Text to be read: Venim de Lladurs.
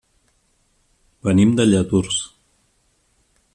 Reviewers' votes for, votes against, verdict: 2, 0, accepted